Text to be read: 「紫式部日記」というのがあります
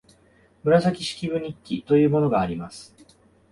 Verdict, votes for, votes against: accepted, 2, 1